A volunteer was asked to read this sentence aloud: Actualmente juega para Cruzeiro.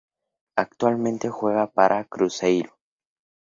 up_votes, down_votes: 2, 0